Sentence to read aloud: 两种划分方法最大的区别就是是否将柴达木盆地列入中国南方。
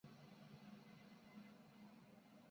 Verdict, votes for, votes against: accepted, 2, 0